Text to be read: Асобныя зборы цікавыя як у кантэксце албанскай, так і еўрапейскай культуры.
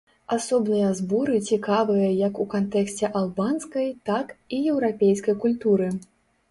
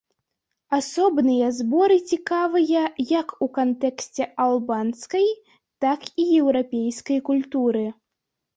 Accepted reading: second